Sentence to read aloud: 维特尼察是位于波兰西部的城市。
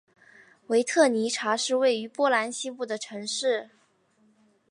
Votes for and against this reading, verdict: 2, 0, accepted